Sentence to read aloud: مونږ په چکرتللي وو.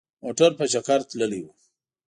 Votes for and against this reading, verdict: 2, 0, accepted